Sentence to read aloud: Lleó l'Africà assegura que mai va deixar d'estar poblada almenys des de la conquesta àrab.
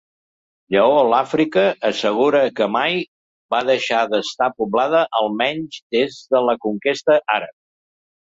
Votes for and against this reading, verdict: 1, 2, rejected